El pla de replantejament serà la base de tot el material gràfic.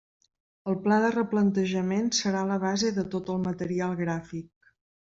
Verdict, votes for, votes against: accepted, 3, 0